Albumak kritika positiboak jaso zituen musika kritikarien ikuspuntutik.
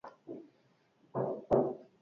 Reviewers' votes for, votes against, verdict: 0, 4, rejected